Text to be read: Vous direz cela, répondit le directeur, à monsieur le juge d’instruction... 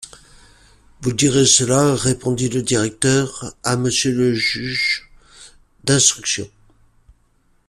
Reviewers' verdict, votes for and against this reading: accepted, 2, 1